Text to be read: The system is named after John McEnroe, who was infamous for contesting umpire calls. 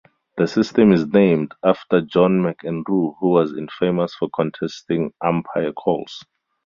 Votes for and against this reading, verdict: 0, 2, rejected